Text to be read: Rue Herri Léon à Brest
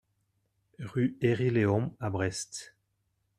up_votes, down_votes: 2, 0